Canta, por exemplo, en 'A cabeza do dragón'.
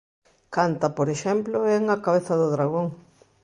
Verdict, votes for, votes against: accepted, 2, 0